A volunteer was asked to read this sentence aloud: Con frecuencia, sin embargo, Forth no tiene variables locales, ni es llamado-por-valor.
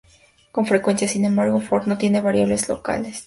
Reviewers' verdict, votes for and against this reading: rejected, 0, 2